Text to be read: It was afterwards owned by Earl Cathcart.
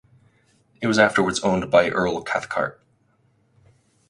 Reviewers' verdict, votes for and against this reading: accepted, 4, 0